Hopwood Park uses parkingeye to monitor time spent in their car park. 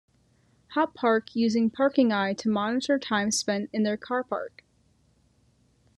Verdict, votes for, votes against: rejected, 1, 2